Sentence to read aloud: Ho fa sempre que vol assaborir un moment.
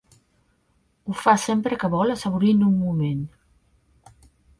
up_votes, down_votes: 2, 1